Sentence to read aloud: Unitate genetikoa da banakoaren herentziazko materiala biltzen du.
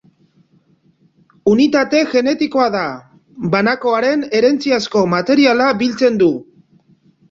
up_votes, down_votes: 2, 0